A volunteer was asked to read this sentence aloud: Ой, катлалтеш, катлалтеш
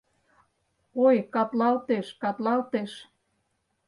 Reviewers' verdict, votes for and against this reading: accepted, 4, 0